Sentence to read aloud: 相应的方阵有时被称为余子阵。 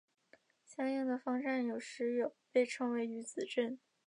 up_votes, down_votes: 3, 1